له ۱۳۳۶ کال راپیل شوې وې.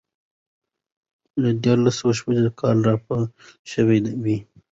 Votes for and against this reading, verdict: 0, 2, rejected